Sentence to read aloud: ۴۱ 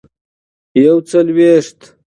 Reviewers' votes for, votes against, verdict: 0, 2, rejected